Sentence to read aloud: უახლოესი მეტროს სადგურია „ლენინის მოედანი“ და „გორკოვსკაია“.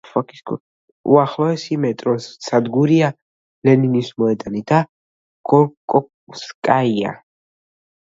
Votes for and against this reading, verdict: 1, 2, rejected